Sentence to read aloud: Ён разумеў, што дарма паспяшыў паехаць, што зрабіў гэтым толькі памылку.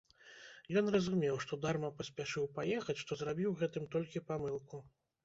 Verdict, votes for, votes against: accepted, 2, 0